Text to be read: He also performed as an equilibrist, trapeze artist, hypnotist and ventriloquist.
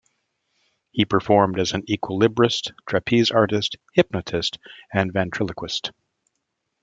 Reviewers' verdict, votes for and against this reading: rejected, 0, 2